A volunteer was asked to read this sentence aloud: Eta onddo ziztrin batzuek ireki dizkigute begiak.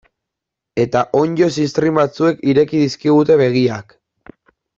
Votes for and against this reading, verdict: 2, 0, accepted